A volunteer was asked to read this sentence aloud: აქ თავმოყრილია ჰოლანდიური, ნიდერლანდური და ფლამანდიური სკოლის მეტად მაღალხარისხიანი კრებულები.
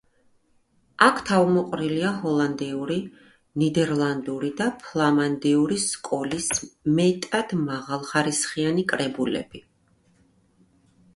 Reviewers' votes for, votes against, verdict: 2, 0, accepted